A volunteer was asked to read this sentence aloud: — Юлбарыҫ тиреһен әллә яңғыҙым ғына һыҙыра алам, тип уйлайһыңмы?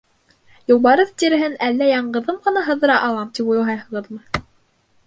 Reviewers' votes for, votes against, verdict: 0, 2, rejected